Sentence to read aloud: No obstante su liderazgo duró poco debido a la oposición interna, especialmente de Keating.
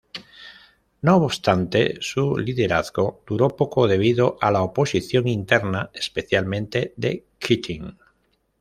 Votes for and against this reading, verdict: 2, 0, accepted